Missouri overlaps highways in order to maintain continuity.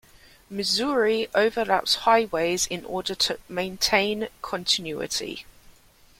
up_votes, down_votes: 2, 0